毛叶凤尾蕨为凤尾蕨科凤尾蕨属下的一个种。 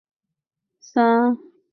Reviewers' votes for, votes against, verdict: 0, 2, rejected